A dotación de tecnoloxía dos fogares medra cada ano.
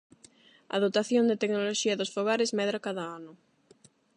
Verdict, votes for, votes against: accepted, 8, 0